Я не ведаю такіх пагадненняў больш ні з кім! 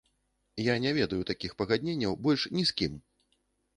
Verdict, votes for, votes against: accepted, 2, 0